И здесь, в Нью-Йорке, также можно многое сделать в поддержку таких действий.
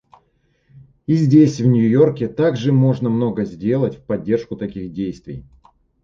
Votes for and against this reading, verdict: 2, 0, accepted